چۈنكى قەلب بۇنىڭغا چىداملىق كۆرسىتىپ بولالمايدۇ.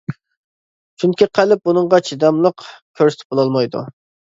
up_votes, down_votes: 2, 0